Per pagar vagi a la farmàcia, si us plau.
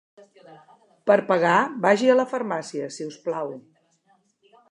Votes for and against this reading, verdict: 1, 2, rejected